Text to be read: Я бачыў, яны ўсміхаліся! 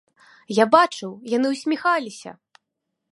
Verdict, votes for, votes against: accepted, 3, 0